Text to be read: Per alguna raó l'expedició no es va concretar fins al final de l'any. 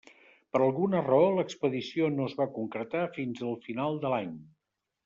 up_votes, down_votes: 3, 0